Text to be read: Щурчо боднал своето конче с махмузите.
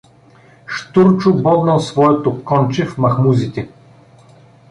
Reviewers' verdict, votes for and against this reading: rejected, 1, 2